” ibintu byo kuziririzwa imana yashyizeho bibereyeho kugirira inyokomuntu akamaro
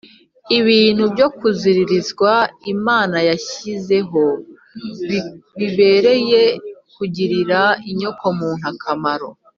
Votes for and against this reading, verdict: 1, 2, rejected